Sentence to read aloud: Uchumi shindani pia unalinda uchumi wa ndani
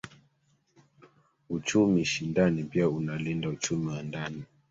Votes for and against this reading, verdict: 2, 0, accepted